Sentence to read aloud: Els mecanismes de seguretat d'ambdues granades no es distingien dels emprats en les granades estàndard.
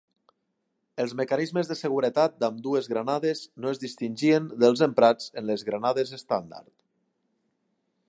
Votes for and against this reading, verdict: 2, 0, accepted